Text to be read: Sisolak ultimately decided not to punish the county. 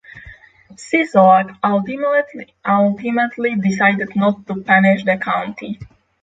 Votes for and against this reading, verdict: 0, 6, rejected